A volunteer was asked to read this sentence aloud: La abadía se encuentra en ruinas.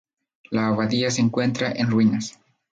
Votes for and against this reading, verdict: 2, 0, accepted